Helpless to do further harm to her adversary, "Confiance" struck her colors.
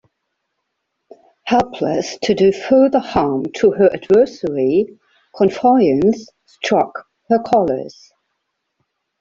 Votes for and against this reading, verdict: 2, 0, accepted